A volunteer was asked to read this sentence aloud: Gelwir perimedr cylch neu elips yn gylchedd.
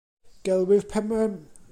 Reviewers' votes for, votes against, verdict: 0, 2, rejected